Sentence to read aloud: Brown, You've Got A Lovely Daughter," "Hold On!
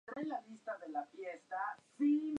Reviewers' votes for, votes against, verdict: 0, 2, rejected